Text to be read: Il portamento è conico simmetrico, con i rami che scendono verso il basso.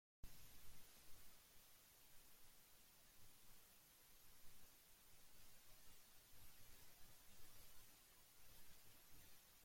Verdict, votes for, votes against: rejected, 0, 2